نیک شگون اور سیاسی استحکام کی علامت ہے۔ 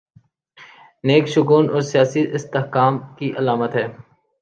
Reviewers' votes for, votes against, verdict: 2, 0, accepted